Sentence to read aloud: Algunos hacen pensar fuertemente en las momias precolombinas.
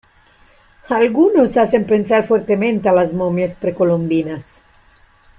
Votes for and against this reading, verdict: 1, 2, rejected